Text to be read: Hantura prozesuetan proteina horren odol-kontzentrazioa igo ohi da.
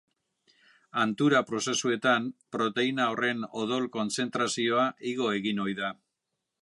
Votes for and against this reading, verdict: 1, 2, rejected